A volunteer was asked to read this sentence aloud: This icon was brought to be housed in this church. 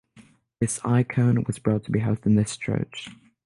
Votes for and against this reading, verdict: 6, 0, accepted